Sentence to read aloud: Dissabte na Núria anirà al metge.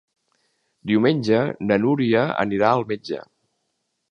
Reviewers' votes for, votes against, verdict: 2, 3, rejected